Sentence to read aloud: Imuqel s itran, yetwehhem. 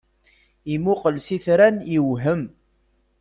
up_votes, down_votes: 0, 2